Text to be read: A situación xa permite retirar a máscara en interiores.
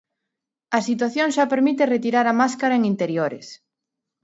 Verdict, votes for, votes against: accepted, 2, 0